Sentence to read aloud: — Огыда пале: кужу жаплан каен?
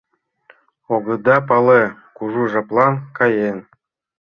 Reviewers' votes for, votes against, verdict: 3, 0, accepted